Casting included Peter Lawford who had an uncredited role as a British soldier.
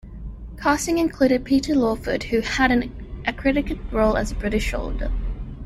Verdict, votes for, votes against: rejected, 0, 2